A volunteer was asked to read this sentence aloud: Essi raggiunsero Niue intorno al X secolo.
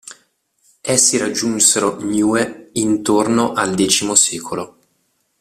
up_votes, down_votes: 2, 0